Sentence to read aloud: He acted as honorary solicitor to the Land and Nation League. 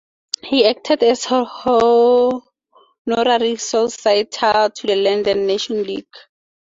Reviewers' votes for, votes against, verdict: 0, 4, rejected